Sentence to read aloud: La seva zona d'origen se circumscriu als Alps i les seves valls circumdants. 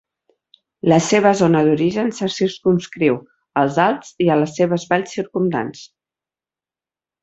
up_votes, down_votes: 4, 0